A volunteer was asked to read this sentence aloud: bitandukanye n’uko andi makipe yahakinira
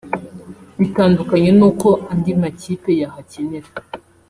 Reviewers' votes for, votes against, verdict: 2, 0, accepted